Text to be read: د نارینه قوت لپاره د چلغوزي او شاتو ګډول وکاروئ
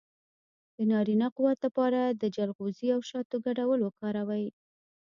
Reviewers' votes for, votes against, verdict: 3, 1, accepted